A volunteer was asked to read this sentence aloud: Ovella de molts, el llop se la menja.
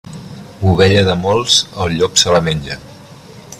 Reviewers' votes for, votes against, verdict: 2, 0, accepted